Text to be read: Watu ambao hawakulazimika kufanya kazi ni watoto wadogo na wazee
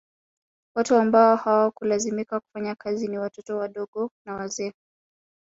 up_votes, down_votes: 1, 2